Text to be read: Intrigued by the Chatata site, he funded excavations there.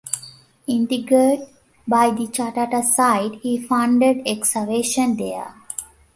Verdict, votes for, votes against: rejected, 0, 2